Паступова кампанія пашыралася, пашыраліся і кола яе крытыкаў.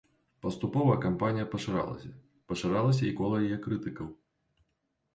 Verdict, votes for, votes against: rejected, 1, 2